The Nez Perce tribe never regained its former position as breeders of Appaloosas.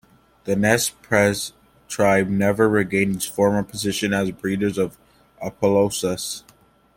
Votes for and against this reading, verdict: 2, 0, accepted